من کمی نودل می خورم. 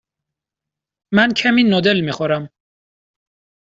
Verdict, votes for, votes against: accepted, 2, 0